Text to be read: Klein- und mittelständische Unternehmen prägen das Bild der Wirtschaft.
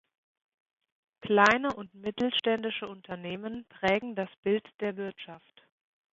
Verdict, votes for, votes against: rejected, 1, 2